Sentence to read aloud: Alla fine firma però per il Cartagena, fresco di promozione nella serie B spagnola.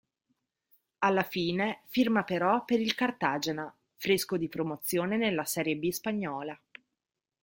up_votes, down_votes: 1, 2